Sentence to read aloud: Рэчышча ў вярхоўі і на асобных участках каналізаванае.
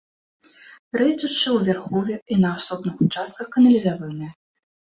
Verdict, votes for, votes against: rejected, 1, 2